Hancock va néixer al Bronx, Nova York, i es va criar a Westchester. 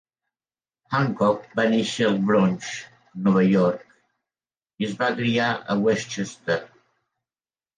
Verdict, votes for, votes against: accepted, 4, 0